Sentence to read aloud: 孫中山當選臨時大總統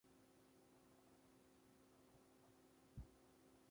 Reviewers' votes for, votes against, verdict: 0, 2, rejected